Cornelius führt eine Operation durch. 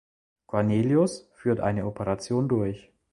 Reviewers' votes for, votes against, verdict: 2, 0, accepted